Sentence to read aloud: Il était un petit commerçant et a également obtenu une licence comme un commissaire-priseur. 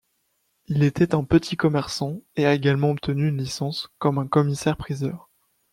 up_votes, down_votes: 2, 0